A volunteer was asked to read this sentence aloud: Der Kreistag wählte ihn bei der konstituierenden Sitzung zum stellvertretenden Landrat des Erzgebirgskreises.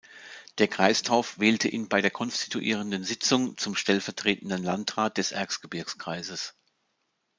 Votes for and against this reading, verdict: 0, 2, rejected